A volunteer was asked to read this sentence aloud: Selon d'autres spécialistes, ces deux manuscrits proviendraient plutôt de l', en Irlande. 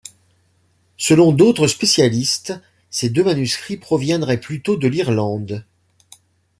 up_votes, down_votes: 0, 2